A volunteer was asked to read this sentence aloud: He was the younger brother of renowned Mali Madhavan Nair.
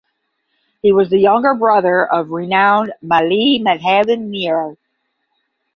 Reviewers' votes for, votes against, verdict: 10, 0, accepted